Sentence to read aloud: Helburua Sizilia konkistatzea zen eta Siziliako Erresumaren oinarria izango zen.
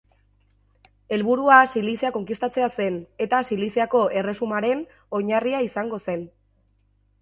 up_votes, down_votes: 0, 2